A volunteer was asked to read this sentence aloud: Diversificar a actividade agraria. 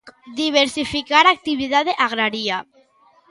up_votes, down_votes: 1, 2